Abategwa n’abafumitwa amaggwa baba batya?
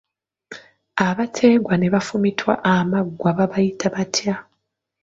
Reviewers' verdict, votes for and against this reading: rejected, 1, 2